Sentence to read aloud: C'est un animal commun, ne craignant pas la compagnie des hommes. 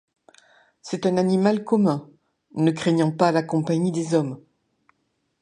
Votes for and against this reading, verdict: 2, 0, accepted